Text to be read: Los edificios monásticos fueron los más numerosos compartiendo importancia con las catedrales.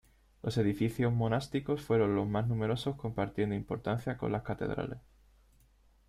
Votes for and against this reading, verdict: 2, 0, accepted